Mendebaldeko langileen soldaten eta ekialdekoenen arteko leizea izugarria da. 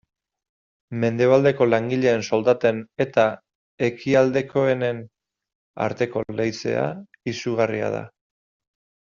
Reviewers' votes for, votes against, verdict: 2, 0, accepted